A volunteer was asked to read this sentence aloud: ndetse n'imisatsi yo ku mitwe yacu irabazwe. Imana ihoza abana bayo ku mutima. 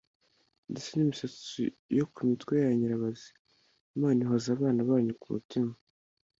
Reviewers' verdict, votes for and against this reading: rejected, 1, 2